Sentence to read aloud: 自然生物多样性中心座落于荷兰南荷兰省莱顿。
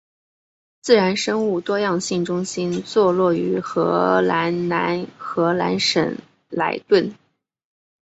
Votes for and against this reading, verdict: 2, 0, accepted